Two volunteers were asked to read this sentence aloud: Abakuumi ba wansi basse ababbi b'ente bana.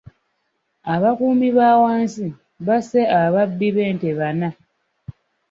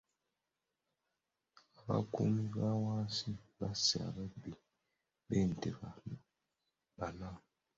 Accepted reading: first